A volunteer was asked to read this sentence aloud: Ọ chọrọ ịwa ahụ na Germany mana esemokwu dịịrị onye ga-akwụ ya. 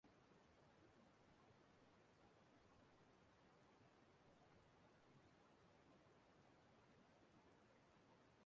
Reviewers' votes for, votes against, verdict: 0, 2, rejected